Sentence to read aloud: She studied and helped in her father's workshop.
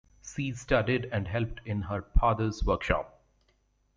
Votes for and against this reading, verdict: 0, 2, rejected